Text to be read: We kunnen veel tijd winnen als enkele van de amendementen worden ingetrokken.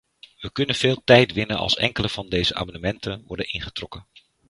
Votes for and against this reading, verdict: 1, 2, rejected